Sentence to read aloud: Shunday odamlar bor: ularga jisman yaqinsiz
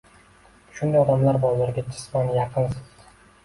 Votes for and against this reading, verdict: 2, 0, accepted